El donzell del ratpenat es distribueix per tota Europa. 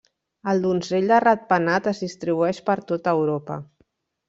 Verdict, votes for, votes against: rejected, 0, 2